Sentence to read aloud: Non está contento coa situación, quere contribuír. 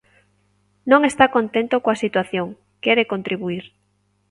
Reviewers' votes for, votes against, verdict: 2, 0, accepted